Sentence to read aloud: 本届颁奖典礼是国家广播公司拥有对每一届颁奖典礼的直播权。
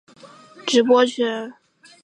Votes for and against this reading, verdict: 0, 4, rejected